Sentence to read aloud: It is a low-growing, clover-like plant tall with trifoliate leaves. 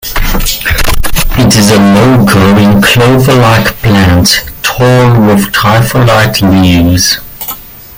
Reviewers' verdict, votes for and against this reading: rejected, 0, 2